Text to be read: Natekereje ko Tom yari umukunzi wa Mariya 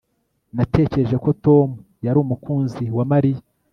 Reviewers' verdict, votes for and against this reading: accepted, 2, 0